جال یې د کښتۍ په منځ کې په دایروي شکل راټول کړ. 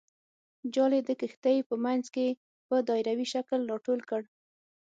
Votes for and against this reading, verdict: 6, 0, accepted